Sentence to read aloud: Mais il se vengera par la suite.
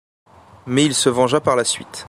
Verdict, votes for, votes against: rejected, 0, 2